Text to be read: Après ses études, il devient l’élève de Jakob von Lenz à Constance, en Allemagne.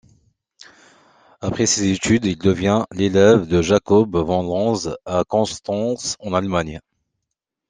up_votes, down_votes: 2, 0